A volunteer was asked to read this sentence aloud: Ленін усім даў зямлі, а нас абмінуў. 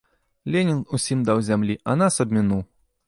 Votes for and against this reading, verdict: 2, 0, accepted